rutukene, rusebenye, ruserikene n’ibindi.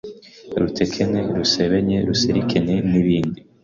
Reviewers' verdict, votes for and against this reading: rejected, 0, 2